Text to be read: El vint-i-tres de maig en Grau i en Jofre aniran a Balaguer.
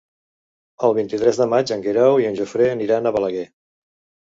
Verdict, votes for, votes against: rejected, 0, 2